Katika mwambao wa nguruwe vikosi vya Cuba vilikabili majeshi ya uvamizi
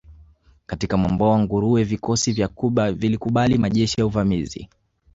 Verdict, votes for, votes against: rejected, 1, 2